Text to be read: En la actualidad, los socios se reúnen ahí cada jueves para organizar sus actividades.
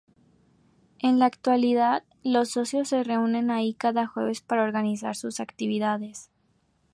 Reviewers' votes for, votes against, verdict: 2, 0, accepted